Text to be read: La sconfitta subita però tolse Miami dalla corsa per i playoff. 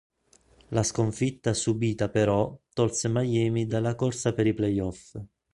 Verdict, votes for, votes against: accepted, 3, 0